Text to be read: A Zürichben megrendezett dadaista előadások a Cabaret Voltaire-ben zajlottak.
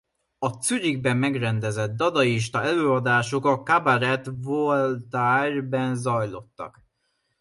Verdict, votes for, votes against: rejected, 0, 2